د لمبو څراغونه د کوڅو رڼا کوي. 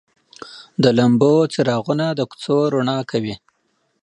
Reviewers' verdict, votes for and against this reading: accepted, 2, 0